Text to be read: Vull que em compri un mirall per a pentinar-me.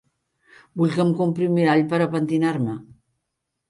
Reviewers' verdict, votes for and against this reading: accepted, 5, 1